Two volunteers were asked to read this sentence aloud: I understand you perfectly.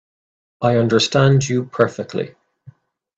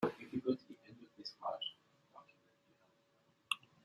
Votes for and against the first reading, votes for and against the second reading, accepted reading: 2, 0, 0, 2, first